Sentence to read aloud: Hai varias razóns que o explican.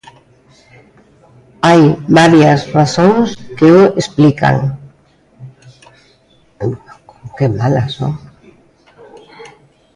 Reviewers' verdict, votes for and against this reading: rejected, 0, 2